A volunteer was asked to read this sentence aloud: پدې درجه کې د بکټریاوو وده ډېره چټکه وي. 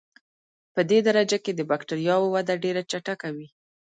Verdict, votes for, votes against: accepted, 2, 0